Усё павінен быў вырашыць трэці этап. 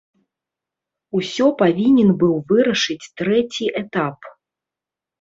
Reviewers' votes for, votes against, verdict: 2, 0, accepted